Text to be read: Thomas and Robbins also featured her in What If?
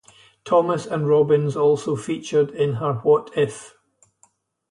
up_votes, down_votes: 0, 2